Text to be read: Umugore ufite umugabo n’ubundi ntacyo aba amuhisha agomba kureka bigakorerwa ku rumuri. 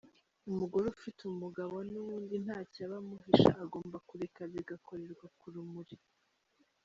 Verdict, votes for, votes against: rejected, 1, 2